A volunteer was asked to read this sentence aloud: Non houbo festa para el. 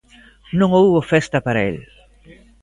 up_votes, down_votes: 2, 0